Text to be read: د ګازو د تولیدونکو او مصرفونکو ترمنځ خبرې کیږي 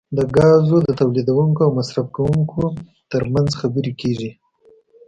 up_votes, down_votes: 2, 0